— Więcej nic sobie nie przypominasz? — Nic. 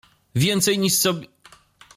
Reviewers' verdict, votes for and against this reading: rejected, 0, 2